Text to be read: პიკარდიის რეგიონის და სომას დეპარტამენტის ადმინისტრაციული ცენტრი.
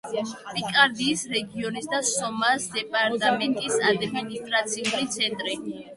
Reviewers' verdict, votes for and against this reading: rejected, 1, 2